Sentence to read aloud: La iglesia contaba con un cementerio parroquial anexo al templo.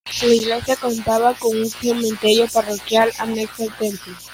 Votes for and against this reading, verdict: 0, 2, rejected